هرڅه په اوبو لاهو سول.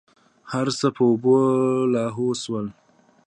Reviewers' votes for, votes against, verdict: 2, 0, accepted